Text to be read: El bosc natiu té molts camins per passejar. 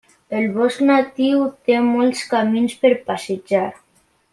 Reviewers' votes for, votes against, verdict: 3, 0, accepted